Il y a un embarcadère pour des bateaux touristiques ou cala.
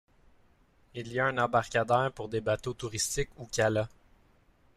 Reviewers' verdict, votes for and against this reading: accepted, 2, 0